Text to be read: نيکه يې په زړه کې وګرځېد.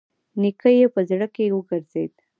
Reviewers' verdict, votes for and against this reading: accepted, 2, 0